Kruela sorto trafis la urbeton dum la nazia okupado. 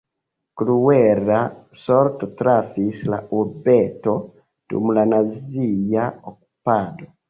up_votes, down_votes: 1, 2